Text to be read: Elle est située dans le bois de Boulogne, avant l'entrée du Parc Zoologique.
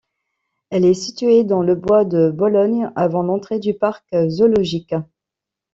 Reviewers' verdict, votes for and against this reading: rejected, 1, 2